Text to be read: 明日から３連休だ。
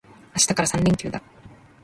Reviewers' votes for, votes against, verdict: 0, 2, rejected